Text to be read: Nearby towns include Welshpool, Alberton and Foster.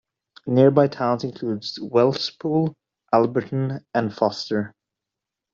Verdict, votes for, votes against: rejected, 0, 2